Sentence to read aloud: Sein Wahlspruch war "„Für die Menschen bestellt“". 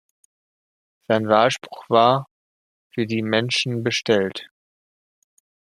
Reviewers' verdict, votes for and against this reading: accepted, 2, 0